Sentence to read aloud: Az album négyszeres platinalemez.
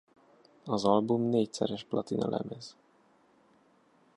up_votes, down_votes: 1, 2